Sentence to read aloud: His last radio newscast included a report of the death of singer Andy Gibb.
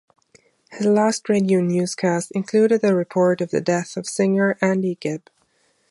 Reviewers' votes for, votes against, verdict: 2, 0, accepted